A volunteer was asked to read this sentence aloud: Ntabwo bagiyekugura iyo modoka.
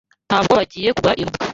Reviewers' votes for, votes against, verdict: 1, 2, rejected